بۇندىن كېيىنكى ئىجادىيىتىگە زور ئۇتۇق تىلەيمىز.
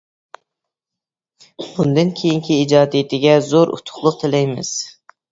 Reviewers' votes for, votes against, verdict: 0, 2, rejected